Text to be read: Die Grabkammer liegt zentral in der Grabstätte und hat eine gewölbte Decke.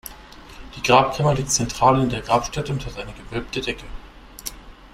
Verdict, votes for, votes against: accepted, 2, 0